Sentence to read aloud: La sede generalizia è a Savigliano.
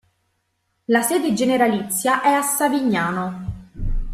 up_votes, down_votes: 0, 2